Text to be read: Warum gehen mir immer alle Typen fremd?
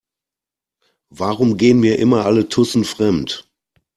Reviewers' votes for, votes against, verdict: 0, 2, rejected